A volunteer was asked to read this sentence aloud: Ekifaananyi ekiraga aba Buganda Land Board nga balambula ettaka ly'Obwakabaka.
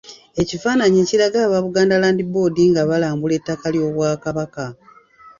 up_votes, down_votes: 1, 2